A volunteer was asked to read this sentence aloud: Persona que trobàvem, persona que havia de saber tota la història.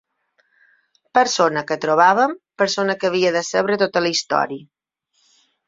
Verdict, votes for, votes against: rejected, 3, 6